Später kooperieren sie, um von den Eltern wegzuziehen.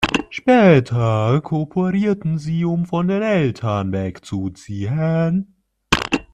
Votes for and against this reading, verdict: 0, 2, rejected